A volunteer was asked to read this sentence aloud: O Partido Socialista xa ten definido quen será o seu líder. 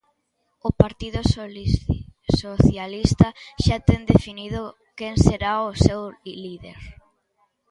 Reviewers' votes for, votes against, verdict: 0, 2, rejected